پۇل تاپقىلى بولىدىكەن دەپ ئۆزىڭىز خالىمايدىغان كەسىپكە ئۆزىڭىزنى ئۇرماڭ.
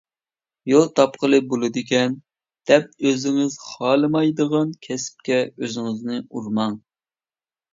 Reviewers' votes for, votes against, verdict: 1, 2, rejected